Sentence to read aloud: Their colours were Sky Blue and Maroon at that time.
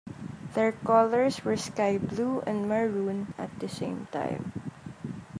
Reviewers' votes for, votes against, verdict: 1, 2, rejected